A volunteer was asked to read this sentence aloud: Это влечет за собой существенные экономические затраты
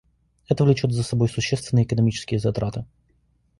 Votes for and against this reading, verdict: 2, 1, accepted